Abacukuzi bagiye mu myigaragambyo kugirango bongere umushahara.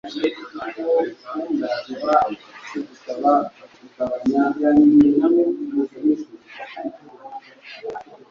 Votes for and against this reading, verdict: 1, 2, rejected